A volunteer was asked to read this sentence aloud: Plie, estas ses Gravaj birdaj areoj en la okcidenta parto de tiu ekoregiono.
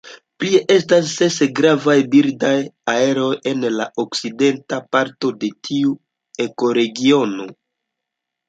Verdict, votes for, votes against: rejected, 1, 3